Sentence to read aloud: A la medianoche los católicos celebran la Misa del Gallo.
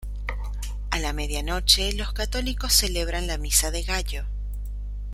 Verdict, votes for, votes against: rejected, 0, 2